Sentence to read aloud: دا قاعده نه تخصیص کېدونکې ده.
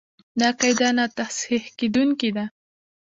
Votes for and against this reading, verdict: 1, 2, rejected